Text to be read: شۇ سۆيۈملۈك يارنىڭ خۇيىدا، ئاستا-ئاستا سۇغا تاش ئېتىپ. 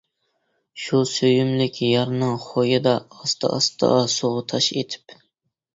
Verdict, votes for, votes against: accepted, 2, 0